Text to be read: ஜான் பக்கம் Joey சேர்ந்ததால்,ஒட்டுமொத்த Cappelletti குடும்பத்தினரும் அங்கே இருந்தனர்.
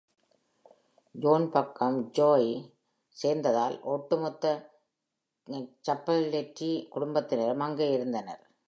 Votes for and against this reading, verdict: 2, 0, accepted